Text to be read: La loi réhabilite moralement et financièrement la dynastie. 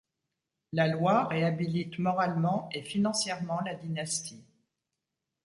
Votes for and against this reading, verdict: 2, 0, accepted